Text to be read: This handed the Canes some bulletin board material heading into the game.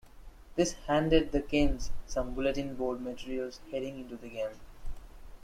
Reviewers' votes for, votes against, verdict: 0, 2, rejected